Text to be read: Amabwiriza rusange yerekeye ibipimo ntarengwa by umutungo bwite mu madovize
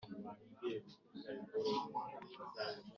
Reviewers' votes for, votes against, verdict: 1, 2, rejected